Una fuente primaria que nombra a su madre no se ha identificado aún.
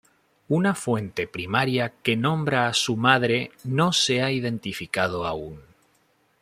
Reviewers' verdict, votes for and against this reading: rejected, 1, 2